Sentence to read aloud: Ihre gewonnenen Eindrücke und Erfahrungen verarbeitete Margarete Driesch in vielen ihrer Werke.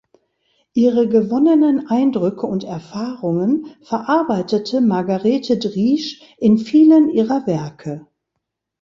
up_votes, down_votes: 2, 0